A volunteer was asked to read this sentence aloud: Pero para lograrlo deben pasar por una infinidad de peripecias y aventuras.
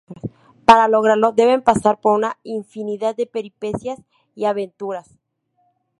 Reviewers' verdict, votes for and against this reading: rejected, 0, 2